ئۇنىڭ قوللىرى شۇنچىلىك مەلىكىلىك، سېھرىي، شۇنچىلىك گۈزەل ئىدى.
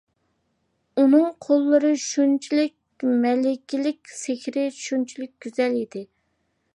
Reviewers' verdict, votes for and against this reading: accepted, 2, 0